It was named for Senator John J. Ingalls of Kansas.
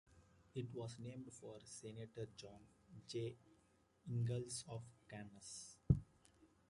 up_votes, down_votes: 0, 2